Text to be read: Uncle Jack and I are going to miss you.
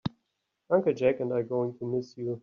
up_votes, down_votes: 3, 0